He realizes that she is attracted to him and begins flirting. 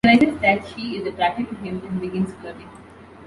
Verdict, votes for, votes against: rejected, 0, 2